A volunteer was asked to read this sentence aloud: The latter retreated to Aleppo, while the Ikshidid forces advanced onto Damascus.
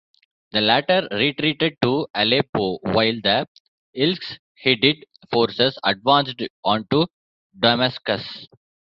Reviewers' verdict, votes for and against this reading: rejected, 1, 2